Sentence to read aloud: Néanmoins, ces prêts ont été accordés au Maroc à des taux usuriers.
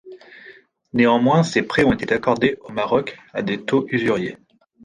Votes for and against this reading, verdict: 2, 0, accepted